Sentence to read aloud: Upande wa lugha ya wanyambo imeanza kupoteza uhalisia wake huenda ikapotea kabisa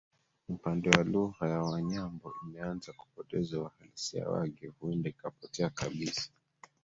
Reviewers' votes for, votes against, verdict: 0, 2, rejected